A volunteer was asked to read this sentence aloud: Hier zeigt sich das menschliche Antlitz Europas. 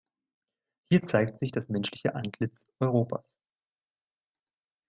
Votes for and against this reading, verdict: 0, 2, rejected